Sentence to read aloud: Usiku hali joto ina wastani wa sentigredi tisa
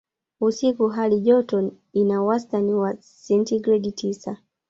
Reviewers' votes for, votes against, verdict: 1, 2, rejected